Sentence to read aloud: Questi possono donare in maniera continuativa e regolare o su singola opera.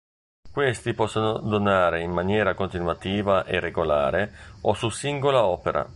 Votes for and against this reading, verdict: 0, 2, rejected